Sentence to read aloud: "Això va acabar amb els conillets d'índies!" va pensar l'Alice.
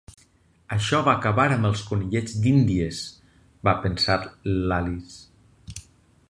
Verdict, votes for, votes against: accepted, 6, 2